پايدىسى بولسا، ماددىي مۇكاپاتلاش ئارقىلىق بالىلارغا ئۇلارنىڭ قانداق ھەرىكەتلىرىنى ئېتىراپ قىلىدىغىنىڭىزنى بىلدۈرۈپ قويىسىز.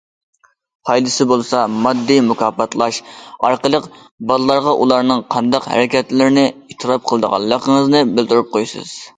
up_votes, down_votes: 1, 2